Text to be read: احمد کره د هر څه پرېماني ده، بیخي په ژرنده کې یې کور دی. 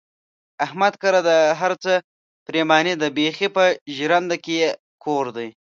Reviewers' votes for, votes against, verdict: 2, 0, accepted